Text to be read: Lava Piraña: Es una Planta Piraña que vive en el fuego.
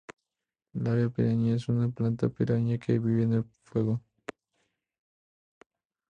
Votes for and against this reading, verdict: 4, 0, accepted